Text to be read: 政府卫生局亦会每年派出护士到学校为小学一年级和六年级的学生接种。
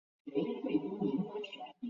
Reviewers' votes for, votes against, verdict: 0, 3, rejected